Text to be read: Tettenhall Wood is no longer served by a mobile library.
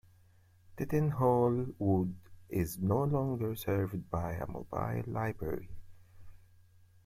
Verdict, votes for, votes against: accepted, 2, 0